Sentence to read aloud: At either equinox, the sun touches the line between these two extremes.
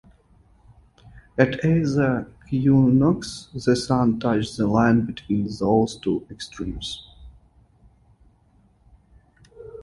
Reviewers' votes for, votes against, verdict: 0, 2, rejected